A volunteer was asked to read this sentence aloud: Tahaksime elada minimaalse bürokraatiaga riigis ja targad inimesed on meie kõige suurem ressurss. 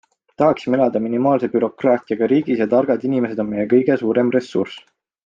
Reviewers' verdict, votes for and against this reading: accepted, 2, 0